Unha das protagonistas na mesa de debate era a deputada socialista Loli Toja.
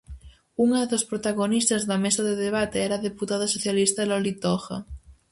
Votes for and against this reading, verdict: 2, 2, rejected